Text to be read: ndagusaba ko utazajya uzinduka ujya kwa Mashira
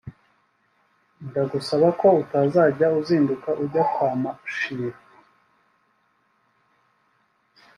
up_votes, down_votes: 5, 0